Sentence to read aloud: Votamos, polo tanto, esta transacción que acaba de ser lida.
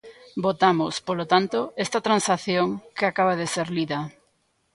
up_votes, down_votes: 1, 2